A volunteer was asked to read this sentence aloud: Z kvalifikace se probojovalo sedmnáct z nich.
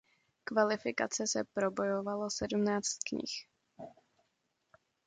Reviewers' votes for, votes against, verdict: 0, 2, rejected